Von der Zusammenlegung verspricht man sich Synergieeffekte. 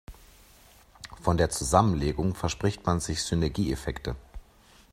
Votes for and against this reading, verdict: 2, 0, accepted